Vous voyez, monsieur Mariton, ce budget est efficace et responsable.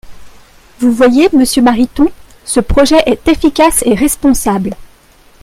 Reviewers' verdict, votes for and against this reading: rejected, 0, 2